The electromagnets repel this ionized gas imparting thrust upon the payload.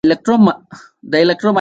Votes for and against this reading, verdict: 0, 2, rejected